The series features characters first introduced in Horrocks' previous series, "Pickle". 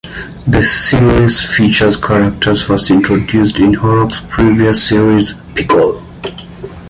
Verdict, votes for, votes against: accepted, 2, 0